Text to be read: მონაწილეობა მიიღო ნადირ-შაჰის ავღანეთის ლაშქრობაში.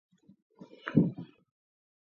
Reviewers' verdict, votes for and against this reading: rejected, 1, 5